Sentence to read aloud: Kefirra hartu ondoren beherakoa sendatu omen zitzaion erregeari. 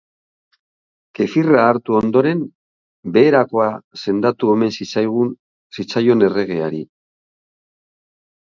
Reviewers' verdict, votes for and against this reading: rejected, 0, 2